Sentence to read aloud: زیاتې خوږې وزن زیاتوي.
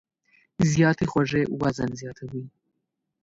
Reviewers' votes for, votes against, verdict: 2, 0, accepted